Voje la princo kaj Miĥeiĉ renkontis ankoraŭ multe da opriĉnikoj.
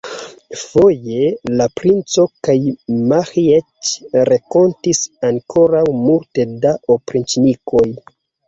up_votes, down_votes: 2, 0